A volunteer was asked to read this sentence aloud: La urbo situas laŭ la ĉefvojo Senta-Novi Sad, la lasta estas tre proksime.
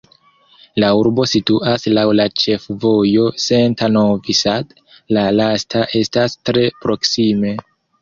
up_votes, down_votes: 1, 2